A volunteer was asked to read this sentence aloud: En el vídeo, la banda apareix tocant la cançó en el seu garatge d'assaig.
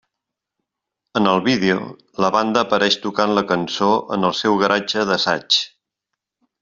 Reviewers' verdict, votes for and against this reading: accepted, 2, 0